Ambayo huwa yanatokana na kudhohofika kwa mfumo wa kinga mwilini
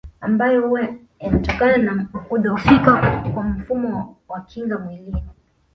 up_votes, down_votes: 0, 2